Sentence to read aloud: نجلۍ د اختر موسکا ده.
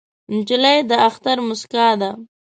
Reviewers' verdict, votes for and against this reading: accepted, 2, 0